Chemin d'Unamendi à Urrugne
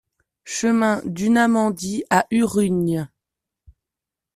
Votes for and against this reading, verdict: 3, 0, accepted